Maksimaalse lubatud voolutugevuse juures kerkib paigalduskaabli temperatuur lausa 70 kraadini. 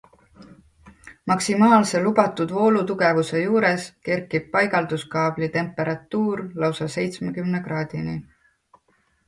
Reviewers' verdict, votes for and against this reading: rejected, 0, 2